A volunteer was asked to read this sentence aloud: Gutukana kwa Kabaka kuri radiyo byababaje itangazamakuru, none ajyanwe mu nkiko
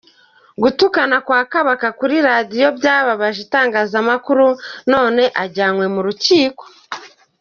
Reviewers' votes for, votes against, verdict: 0, 2, rejected